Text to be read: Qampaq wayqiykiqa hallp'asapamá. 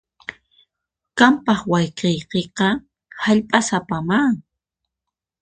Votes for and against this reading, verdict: 2, 4, rejected